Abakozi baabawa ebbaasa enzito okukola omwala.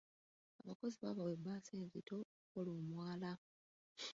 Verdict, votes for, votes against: rejected, 0, 2